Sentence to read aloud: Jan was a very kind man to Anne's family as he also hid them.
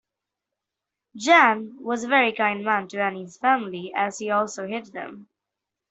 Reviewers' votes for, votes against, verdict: 2, 1, accepted